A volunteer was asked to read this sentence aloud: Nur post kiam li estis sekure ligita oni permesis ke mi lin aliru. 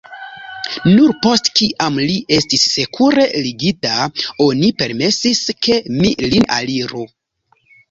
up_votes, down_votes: 2, 3